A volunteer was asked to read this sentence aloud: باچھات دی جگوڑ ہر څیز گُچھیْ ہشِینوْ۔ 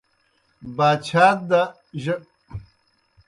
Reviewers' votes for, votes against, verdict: 0, 2, rejected